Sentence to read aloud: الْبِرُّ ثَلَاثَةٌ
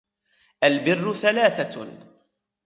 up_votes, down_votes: 0, 2